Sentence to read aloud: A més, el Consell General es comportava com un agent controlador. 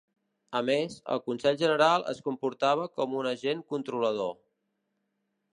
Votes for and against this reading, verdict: 2, 0, accepted